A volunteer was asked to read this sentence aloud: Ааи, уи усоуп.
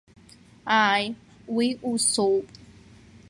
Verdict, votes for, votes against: accepted, 2, 0